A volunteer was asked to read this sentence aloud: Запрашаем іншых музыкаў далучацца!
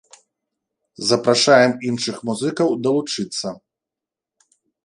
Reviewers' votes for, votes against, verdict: 0, 2, rejected